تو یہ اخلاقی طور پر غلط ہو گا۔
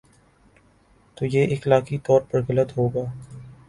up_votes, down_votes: 7, 0